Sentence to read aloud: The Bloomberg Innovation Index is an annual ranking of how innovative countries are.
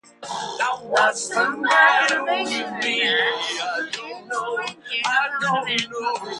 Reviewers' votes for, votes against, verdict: 0, 2, rejected